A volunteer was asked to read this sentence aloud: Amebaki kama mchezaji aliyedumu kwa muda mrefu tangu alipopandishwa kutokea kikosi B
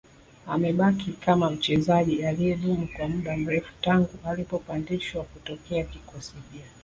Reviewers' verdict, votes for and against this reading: accepted, 2, 0